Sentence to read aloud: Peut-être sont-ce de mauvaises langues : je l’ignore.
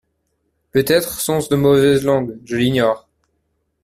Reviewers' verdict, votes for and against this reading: accepted, 2, 0